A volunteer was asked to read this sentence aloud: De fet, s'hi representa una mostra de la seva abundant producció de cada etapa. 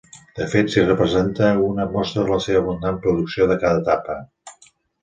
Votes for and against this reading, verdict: 2, 0, accepted